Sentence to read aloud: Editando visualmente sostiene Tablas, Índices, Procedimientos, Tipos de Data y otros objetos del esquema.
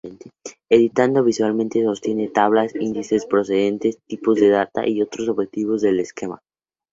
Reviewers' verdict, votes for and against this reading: accepted, 2, 0